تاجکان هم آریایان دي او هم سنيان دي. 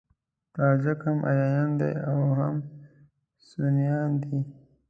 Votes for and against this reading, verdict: 0, 3, rejected